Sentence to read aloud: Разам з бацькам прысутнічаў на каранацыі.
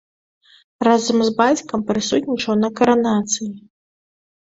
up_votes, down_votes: 2, 0